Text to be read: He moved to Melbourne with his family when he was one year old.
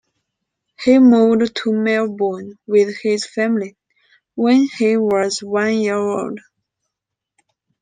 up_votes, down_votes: 2, 0